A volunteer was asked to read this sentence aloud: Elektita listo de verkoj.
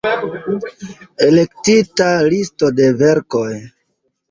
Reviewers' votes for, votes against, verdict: 2, 0, accepted